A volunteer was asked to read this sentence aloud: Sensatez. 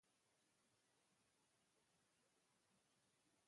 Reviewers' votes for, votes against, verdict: 0, 2, rejected